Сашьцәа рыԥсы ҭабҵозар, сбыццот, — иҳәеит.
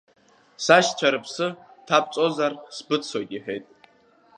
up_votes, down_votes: 2, 0